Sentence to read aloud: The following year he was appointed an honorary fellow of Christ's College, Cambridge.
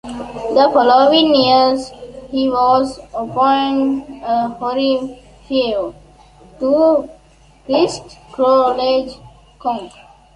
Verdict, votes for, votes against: rejected, 0, 2